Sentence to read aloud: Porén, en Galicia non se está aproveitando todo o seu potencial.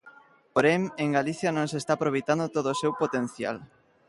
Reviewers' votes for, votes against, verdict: 1, 2, rejected